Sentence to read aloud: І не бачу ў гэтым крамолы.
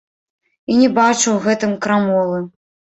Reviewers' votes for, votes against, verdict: 1, 2, rejected